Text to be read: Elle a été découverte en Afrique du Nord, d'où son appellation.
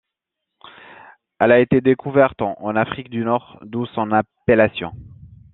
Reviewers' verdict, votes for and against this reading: accepted, 2, 0